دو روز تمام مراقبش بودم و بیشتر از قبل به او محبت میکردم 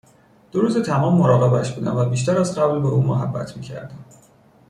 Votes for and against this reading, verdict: 2, 0, accepted